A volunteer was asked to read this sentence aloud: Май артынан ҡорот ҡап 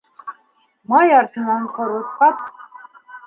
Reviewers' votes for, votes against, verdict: 2, 1, accepted